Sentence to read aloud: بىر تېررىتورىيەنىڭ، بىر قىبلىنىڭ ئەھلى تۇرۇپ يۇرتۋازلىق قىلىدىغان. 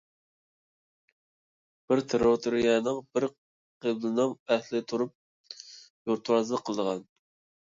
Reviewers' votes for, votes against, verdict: 1, 2, rejected